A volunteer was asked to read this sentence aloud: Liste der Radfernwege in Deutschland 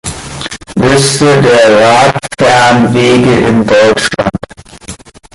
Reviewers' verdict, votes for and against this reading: rejected, 1, 2